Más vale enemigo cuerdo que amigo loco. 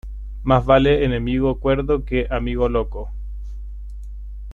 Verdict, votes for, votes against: accepted, 2, 0